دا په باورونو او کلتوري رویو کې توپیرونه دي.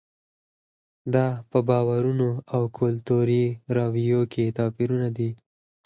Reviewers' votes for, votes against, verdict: 4, 2, accepted